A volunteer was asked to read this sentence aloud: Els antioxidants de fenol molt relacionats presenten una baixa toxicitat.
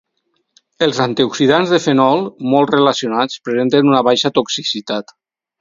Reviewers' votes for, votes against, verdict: 4, 0, accepted